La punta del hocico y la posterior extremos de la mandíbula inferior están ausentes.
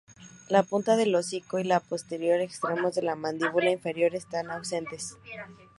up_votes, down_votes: 2, 0